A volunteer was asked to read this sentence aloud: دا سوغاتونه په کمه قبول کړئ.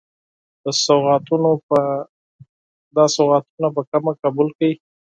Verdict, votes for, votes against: accepted, 4, 0